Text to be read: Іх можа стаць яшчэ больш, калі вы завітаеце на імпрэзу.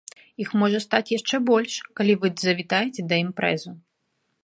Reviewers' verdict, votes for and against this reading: rejected, 1, 2